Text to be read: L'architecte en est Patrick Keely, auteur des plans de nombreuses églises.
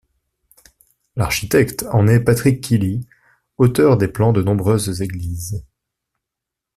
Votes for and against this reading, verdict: 2, 0, accepted